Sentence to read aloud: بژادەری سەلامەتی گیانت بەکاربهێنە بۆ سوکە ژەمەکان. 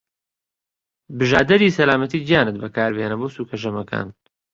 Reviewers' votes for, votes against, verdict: 2, 1, accepted